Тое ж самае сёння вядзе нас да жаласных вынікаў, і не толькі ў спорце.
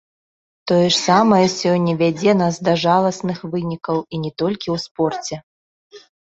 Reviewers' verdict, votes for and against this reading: accepted, 2, 0